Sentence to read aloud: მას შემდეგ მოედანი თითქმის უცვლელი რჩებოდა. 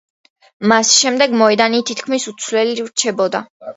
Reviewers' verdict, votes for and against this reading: accepted, 2, 0